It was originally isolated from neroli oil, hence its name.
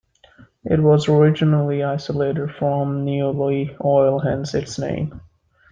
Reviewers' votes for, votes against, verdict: 2, 0, accepted